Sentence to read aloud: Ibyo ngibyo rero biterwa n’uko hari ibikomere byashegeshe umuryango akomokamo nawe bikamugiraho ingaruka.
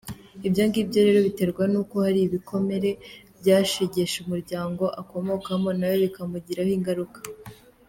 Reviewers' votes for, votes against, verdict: 2, 0, accepted